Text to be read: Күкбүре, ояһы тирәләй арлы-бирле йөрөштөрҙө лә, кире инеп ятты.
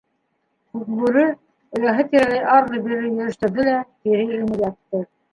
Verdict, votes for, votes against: rejected, 0, 2